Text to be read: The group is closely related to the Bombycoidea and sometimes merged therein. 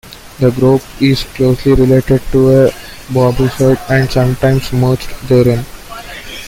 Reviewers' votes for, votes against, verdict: 1, 2, rejected